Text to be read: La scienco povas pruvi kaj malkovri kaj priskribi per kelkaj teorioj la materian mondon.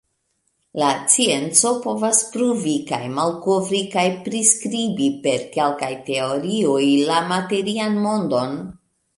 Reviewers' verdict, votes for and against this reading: rejected, 0, 2